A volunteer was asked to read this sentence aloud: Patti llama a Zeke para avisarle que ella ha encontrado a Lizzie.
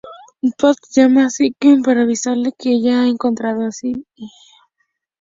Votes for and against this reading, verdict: 0, 2, rejected